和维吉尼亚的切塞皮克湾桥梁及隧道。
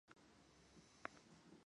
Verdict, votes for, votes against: rejected, 0, 3